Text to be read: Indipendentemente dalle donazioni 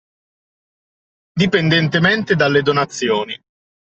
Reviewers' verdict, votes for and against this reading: rejected, 1, 2